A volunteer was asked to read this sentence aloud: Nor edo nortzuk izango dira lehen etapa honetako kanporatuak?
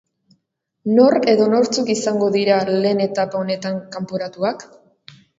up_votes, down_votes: 0, 2